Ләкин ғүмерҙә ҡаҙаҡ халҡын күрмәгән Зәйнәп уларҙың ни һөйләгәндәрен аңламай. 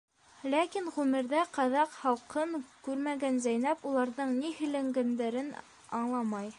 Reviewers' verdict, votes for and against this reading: rejected, 1, 2